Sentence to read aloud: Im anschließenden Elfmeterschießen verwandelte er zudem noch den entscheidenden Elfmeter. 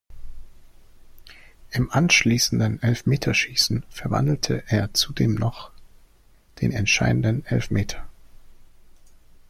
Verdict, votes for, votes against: accepted, 2, 1